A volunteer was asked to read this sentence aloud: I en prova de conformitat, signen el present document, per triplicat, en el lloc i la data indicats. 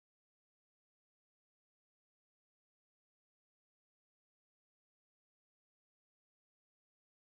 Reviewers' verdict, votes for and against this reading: rejected, 0, 2